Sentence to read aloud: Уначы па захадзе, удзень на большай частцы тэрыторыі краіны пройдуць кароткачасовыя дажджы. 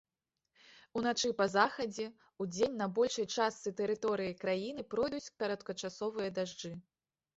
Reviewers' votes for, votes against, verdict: 2, 0, accepted